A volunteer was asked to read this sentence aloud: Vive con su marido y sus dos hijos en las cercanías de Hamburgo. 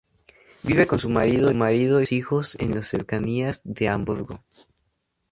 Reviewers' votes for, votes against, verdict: 0, 2, rejected